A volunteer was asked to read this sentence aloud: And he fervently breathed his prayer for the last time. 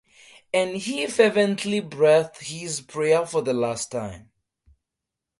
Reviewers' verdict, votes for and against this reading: accepted, 4, 2